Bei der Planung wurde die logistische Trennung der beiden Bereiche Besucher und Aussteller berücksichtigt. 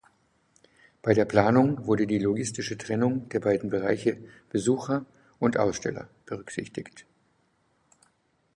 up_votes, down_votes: 2, 0